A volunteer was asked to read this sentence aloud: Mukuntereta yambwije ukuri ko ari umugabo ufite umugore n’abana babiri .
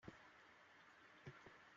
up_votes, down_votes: 0, 2